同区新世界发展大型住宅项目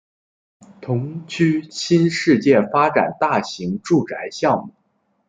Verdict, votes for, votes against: accepted, 2, 0